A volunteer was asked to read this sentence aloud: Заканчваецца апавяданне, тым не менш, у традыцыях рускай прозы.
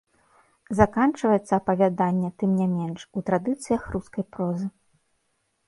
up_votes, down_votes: 2, 0